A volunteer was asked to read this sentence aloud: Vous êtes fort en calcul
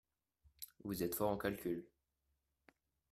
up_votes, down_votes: 2, 0